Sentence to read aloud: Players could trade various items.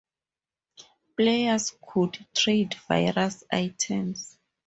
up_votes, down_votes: 2, 0